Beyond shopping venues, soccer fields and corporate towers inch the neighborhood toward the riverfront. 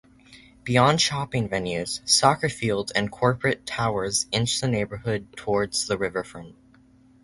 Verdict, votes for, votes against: rejected, 0, 2